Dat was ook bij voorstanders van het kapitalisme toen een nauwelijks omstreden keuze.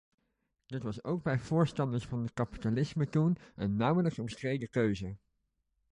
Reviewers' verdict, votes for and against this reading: rejected, 1, 2